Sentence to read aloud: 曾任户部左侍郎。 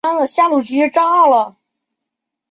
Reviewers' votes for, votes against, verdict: 0, 2, rejected